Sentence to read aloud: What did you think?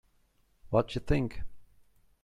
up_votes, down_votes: 1, 2